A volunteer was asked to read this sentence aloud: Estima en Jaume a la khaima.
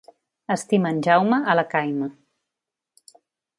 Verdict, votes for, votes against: accepted, 2, 0